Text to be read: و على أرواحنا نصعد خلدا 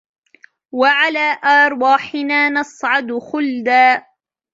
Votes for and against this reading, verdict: 1, 2, rejected